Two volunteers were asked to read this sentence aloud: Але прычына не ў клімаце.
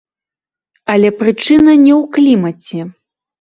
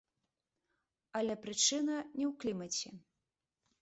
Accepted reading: second